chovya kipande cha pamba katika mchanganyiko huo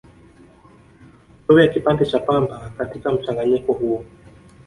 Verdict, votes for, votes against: rejected, 1, 2